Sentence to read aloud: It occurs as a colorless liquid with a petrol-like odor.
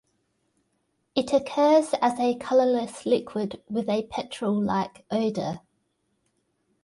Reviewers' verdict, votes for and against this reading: accepted, 2, 0